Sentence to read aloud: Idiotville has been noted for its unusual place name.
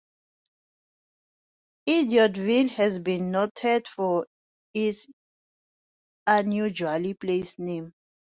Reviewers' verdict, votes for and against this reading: rejected, 0, 2